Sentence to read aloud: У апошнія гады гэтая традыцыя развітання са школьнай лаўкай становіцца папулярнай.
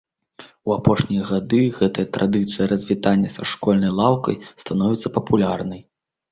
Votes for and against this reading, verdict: 2, 0, accepted